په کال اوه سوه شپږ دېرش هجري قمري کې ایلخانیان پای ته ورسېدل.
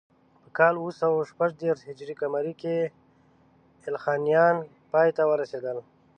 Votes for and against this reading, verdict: 2, 0, accepted